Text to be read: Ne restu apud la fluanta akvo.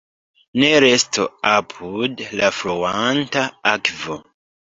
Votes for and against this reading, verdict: 0, 2, rejected